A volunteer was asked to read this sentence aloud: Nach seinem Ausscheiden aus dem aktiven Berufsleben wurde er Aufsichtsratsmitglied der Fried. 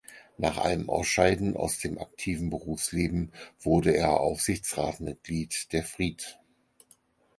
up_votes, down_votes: 0, 4